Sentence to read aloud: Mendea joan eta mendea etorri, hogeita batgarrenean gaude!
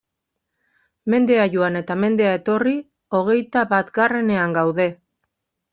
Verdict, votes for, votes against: accepted, 2, 1